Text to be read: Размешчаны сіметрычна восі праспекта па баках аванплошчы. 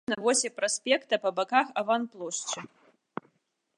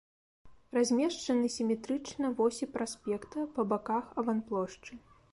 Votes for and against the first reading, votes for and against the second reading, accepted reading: 0, 2, 2, 0, second